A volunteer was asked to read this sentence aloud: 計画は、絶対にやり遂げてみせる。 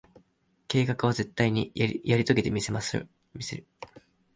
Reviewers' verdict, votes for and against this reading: rejected, 0, 2